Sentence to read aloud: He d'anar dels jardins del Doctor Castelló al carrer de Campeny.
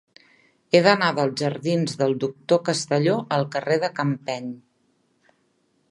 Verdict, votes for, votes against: rejected, 1, 2